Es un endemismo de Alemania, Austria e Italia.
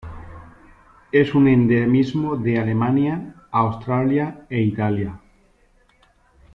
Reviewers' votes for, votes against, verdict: 0, 2, rejected